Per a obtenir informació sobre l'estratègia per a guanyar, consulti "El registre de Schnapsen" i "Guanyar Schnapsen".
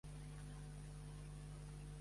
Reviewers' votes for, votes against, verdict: 1, 3, rejected